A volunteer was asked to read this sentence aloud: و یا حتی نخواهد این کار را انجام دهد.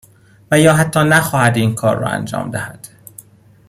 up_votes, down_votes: 2, 0